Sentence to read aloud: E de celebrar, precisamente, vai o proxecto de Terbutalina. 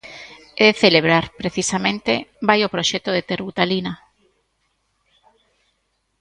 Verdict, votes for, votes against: accepted, 2, 1